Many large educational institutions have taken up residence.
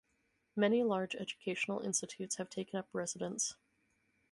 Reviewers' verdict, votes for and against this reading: rejected, 0, 4